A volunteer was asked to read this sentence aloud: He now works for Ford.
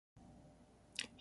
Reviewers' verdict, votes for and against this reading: rejected, 0, 2